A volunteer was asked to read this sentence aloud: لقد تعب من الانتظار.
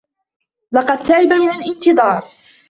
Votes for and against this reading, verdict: 2, 0, accepted